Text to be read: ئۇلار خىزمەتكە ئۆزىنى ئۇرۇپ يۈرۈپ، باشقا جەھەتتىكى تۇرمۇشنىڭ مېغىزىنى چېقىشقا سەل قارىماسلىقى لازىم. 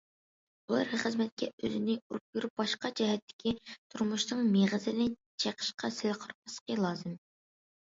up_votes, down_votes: 2, 1